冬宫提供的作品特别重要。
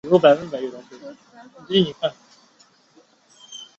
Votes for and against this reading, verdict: 1, 4, rejected